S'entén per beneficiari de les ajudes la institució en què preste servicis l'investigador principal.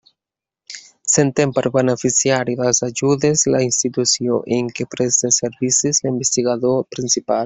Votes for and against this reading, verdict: 1, 2, rejected